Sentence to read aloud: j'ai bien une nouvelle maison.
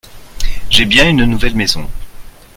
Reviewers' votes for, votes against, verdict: 2, 0, accepted